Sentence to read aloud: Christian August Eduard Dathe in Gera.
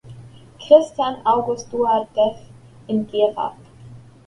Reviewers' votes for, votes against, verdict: 2, 0, accepted